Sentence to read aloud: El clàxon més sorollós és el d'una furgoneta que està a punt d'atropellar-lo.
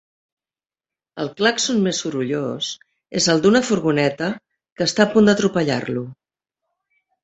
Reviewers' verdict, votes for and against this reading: accepted, 4, 0